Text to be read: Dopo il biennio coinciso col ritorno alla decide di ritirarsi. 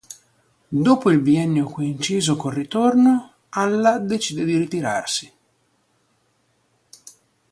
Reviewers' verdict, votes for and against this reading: rejected, 1, 2